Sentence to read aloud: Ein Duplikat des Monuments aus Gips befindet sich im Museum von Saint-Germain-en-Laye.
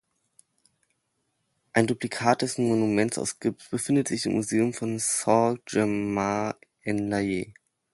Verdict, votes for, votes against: rejected, 1, 2